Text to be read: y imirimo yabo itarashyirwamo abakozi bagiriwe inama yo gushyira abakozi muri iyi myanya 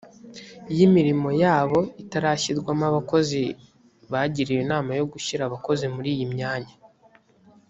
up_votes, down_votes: 2, 0